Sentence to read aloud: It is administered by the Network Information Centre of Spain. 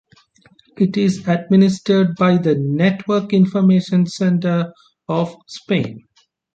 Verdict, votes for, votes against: accepted, 2, 0